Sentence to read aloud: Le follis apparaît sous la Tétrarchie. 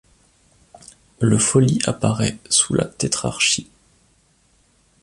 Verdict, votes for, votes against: accepted, 2, 0